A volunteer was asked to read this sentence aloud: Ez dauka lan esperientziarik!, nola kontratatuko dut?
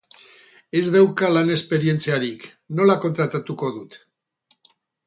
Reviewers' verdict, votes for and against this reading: accepted, 4, 0